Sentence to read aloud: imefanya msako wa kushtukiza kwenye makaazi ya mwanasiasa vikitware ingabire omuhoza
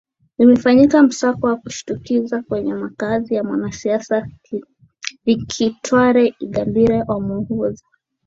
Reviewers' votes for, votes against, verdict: 2, 0, accepted